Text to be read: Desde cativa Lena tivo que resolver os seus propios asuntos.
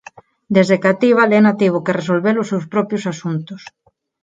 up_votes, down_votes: 6, 0